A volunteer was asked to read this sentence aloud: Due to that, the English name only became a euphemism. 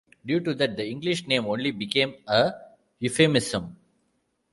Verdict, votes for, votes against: rejected, 1, 2